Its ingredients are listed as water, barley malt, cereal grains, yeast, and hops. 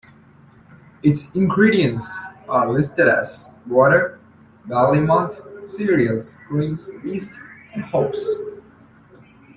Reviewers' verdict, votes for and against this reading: accepted, 2, 0